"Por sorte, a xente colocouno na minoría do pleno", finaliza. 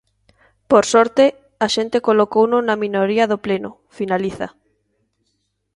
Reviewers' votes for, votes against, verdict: 2, 0, accepted